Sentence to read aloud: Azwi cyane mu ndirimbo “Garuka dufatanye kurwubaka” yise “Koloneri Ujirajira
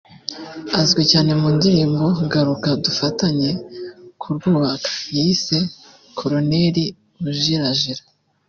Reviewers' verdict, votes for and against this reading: accepted, 2, 0